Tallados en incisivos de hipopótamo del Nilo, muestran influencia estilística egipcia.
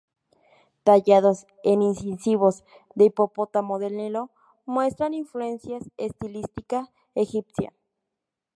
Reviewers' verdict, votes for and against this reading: rejected, 0, 2